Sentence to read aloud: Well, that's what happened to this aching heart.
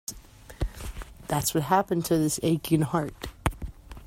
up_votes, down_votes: 1, 2